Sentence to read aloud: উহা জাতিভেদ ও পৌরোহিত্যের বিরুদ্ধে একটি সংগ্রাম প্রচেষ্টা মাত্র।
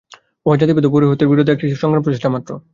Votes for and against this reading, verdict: 0, 2, rejected